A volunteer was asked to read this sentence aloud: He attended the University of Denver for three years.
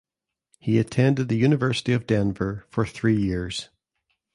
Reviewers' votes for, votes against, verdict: 2, 0, accepted